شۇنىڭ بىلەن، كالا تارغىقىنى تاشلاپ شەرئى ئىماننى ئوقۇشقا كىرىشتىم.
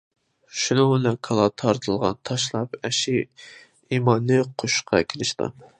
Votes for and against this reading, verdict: 0, 2, rejected